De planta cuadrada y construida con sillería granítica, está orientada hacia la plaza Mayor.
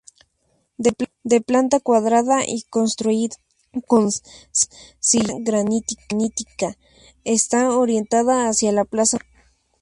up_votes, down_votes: 0, 4